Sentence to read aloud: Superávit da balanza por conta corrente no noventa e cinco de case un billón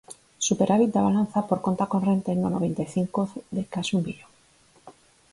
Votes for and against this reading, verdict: 4, 2, accepted